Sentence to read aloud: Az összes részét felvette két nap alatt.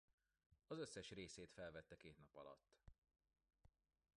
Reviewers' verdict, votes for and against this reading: rejected, 1, 2